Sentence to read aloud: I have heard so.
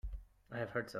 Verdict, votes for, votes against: rejected, 0, 2